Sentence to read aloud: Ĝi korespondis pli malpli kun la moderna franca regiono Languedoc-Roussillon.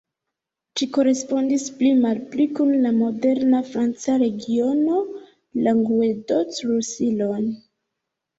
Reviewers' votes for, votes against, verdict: 1, 2, rejected